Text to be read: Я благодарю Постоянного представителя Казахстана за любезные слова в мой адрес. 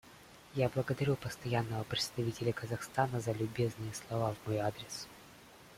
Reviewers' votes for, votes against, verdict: 3, 0, accepted